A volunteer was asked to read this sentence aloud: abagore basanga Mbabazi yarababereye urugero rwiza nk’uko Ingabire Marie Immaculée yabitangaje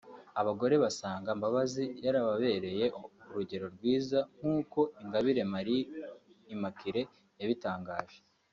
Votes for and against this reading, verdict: 2, 1, accepted